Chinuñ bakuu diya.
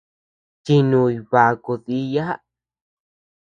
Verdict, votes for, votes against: rejected, 0, 2